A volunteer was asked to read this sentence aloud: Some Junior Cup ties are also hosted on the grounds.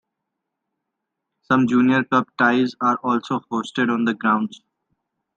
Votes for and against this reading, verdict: 2, 0, accepted